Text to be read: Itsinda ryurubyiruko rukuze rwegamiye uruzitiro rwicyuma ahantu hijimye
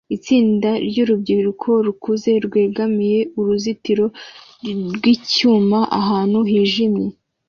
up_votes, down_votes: 2, 0